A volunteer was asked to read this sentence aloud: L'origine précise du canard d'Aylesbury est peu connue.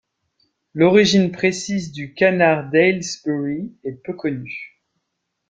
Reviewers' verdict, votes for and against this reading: accepted, 2, 0